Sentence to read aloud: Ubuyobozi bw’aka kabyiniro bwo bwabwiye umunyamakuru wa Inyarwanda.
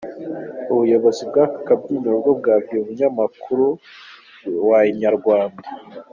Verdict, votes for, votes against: accepted, 2, 0